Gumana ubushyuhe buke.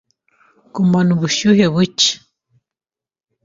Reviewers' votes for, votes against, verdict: 2, 0, accepted